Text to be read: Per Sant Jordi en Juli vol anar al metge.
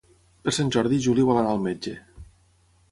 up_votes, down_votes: 3, 3